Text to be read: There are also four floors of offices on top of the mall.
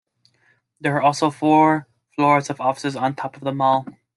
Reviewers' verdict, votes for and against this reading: accepted, 2, 0